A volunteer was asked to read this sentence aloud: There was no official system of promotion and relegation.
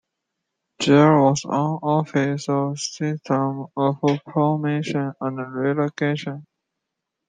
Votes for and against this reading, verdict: 0, 2, rejected